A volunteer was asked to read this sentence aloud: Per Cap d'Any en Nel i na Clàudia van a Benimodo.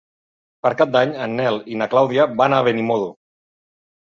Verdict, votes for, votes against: accepted, 2, 0